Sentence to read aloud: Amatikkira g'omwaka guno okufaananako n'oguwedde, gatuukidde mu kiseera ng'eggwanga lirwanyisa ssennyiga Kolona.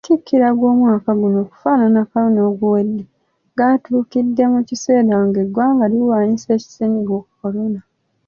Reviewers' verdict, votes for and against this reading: accepted, 2, 1